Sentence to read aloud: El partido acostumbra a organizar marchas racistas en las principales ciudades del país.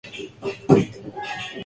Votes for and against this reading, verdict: 2, 0, accepted